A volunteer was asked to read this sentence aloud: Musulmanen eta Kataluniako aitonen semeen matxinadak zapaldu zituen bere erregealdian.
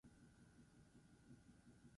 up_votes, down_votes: 2, 2